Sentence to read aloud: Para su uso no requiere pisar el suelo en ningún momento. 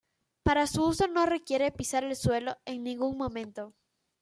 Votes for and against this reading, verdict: 2, 0, accepted